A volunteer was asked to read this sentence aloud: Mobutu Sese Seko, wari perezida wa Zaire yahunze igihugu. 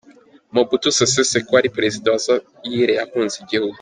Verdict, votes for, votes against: accepted, 2, 0